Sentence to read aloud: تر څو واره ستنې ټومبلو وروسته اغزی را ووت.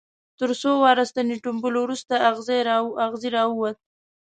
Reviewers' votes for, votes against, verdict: 1, 2, rejected